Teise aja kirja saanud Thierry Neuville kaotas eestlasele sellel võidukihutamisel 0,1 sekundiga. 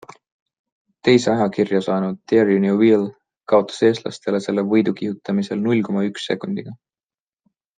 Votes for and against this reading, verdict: 0, 2, rejected